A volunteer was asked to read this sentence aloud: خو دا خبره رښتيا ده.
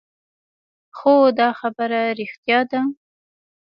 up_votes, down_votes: 2, 0